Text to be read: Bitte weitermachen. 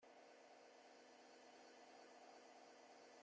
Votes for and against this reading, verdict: 0, 2, rejected